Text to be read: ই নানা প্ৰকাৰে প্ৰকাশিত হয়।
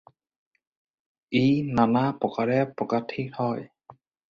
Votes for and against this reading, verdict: 2, 2, rejected